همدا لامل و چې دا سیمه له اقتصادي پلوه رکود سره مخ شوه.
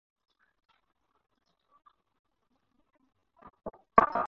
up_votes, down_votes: 0, 4